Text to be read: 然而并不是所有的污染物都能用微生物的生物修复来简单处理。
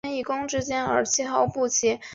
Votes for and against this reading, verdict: 2, 5, rejected